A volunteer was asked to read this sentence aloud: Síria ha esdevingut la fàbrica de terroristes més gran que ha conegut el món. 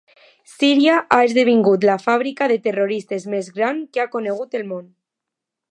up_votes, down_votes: 2, 0